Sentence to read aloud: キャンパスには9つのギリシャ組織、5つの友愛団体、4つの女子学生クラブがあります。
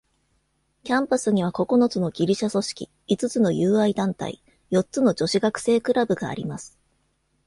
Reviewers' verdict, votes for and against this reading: rejected, 0, 2